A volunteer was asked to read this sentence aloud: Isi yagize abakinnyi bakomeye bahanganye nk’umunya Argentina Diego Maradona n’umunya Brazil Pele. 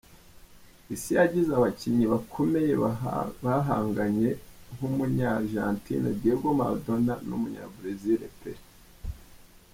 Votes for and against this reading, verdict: 0, 2, rejected